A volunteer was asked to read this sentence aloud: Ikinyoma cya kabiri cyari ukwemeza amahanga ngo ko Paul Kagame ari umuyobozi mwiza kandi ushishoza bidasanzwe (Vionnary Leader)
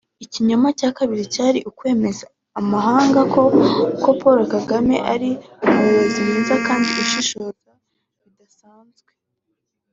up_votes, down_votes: 0, 2